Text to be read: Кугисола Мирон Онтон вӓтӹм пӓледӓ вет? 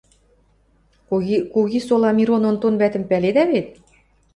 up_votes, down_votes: 0, 2